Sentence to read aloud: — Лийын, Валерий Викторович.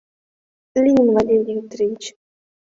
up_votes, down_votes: 3, 0